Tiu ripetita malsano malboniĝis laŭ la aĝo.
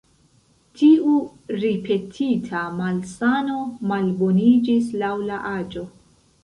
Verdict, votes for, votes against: accepted, 2, 0